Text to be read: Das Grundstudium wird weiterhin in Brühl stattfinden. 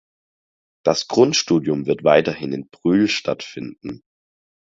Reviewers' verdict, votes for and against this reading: accepted, 4, 0